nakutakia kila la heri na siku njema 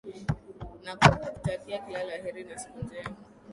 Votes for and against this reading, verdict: 1, 2, rejected